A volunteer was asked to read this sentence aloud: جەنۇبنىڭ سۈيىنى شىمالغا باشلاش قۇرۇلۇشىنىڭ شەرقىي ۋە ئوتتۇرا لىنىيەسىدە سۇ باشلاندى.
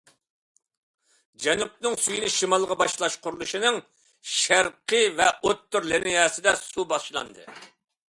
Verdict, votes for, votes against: accepted, 2, 0